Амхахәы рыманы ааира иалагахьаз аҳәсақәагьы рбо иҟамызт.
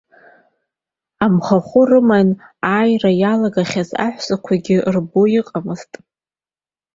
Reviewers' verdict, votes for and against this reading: accepted, 2, 0